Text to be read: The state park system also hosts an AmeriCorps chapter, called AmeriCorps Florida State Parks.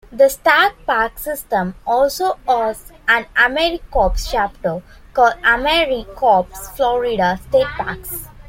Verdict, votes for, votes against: accepted, 2, 1